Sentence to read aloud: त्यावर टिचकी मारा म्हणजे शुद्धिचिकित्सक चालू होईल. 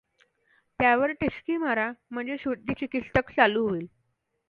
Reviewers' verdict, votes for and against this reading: accepted, 2, 0